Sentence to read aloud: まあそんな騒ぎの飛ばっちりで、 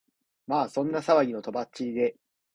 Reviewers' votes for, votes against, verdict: 2, 0, accepted